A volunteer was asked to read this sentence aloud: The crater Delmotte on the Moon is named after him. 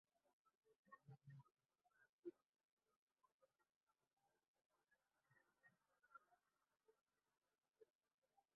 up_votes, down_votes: 0, 2